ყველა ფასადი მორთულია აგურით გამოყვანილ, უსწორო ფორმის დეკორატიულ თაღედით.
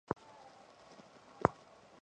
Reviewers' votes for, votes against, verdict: 1, 2, rejected